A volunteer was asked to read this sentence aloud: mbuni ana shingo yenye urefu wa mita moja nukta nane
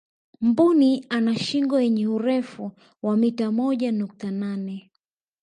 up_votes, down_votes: 2, 0